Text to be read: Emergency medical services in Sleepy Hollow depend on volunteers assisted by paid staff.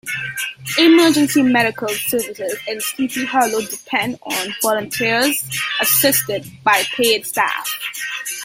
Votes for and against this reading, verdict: 2, 1, accepted